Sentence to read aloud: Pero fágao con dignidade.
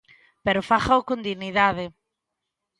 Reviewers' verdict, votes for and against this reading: accepted, 2, 0